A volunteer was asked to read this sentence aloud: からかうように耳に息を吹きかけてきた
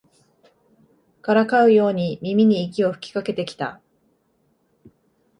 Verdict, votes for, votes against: accepted, 2, 0